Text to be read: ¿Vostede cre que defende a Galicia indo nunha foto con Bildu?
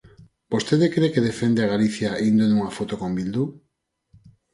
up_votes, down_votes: 4, 0